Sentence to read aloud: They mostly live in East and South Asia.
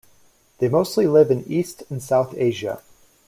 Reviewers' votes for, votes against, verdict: 2, 0, accepted